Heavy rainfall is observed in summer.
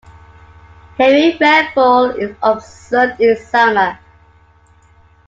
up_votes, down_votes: 2, 0